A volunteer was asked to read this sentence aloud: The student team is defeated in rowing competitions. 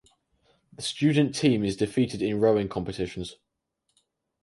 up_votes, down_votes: 4, 0